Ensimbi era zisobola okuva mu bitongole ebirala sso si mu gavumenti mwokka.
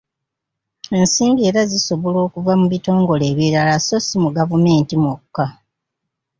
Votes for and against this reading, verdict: 2, 0, accepted